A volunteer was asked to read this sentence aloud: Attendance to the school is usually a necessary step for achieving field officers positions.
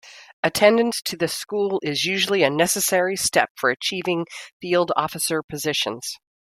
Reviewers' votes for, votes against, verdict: 1, 2, rejected